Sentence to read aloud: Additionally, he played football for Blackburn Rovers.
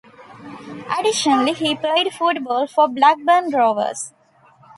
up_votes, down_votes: 2, 1